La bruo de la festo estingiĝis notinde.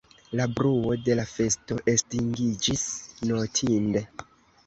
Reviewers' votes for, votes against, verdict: 1, 2, rejected